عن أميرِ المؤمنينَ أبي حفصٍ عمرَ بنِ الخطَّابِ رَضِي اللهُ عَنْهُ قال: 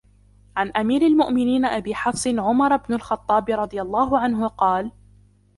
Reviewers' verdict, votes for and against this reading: rejected, 1, 2